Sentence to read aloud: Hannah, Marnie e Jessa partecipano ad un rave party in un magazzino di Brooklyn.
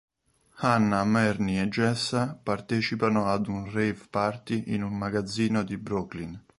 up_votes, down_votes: 2, 0